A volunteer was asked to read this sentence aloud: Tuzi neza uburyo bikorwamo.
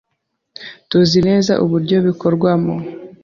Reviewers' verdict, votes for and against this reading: accepted, 3, 0